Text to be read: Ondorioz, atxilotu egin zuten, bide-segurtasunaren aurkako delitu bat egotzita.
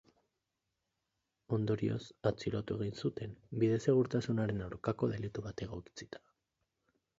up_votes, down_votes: 2, 2